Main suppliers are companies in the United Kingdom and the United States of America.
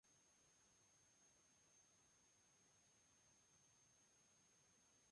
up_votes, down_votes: 0, 2